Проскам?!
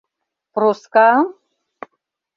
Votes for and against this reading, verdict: 2, 0, accepted